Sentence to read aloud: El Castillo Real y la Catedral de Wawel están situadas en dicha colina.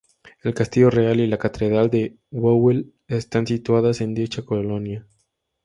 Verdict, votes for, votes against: rejected, 0, 2